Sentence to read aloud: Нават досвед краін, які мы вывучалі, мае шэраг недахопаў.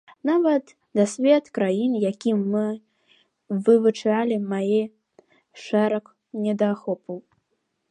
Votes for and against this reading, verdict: 0, 2, rejected